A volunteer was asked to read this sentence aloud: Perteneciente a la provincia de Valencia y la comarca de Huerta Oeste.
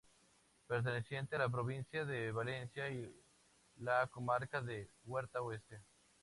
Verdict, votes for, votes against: accepted, 4, 0